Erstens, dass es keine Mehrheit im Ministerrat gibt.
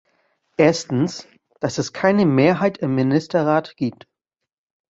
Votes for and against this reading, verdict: 2, 0, accepted